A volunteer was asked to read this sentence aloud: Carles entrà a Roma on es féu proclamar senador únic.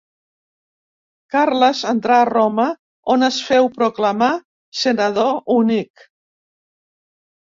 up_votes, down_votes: 3, 0